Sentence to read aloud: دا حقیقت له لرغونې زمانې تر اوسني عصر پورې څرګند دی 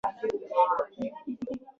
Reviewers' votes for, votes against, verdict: 1, 3, rejected